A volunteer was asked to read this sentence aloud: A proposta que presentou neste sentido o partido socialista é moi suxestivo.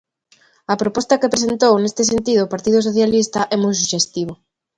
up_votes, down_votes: 2, 0